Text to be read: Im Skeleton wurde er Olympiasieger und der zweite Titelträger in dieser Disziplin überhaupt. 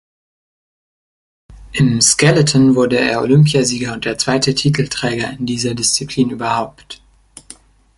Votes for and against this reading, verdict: 2, 0, accepted